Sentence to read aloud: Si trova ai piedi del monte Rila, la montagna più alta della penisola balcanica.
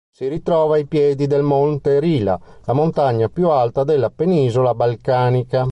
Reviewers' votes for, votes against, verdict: 1, 2, rejected